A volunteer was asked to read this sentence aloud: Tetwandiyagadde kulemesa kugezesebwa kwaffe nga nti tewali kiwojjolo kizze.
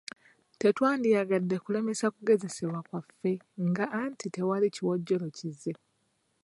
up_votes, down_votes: 0, 2